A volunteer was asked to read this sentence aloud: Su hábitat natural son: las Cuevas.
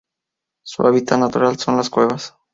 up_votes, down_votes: 2, 0